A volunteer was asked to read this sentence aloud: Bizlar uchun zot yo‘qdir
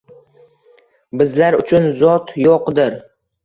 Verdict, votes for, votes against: accepted, 2, 0